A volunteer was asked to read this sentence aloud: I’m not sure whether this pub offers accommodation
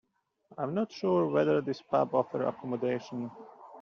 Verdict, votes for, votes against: rejected, 0, 2